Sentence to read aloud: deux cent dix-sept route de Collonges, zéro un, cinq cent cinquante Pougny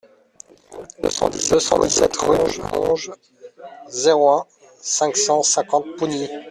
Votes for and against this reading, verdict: 0, 2, rejected